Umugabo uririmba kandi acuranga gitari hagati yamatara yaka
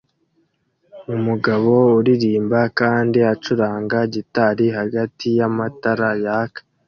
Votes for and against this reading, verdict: 2, 0, accepted